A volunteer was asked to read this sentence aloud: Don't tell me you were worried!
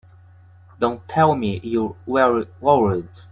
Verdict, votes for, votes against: rejected, 1, 2